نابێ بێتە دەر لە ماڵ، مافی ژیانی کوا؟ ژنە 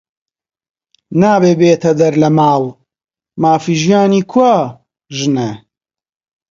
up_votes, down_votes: 2, 0